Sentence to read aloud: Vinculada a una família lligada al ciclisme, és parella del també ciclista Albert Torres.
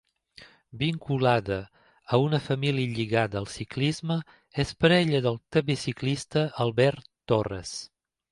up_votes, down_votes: 2, 0